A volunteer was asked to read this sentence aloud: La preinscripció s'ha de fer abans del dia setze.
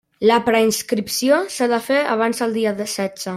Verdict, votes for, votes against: rejected, 1, 2